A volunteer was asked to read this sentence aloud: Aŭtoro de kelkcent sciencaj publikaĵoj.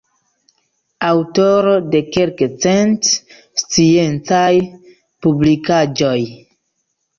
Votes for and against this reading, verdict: 0, 2, rejected